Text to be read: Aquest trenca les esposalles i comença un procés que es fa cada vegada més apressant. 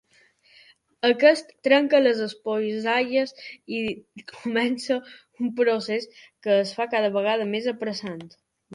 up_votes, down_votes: 1, 2